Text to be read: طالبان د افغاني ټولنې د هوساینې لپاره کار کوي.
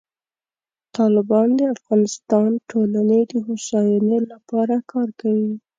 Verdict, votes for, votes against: rejected, 0, 2